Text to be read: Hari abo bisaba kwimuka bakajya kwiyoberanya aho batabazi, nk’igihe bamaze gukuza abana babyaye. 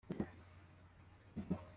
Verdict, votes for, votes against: rejected, 0, 2